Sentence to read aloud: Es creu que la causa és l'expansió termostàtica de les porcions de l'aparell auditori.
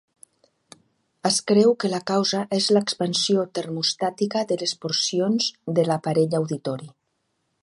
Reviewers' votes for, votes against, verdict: 2, 0, accepted